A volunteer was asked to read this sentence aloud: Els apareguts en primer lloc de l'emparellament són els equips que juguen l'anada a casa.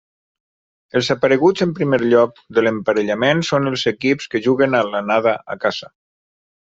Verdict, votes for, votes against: accepted, 2, 1